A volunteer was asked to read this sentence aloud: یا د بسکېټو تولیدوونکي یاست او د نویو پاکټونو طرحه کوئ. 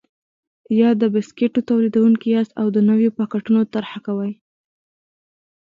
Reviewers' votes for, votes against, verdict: 2, 1, accepted